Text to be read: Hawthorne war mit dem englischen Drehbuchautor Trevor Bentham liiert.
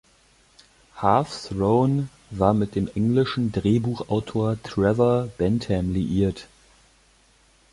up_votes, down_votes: 0, 2